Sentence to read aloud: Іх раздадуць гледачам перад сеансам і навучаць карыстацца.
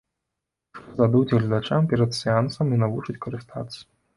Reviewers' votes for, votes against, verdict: 1, 2, rejected